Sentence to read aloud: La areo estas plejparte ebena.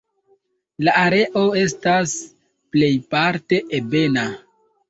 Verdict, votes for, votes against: accepted, 2, 1